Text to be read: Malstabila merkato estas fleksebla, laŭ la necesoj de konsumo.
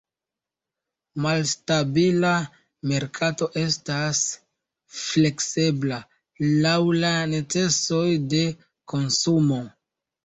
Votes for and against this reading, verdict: 1, 2, rejected